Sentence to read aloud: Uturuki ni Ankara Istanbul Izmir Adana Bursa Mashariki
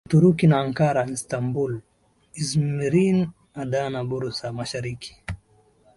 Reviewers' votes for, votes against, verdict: 4, 0, accepted